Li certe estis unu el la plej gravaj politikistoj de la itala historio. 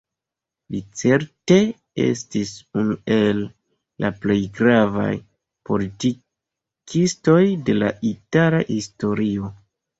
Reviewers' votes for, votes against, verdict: 2, 1, accepted